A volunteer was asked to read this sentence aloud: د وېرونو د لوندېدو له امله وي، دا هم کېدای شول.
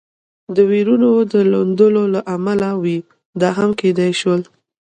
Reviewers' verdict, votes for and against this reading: rejected, 1, 2